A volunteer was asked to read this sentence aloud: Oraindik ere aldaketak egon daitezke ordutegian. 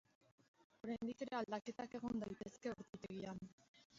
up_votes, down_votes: 0, 3